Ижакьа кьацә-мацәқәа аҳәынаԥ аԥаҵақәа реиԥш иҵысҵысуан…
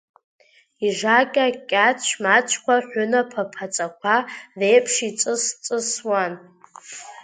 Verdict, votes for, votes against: rejected, 1, 2